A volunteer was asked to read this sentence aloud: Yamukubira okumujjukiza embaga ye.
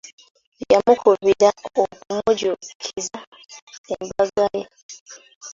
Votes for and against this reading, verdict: 0, 2, rejected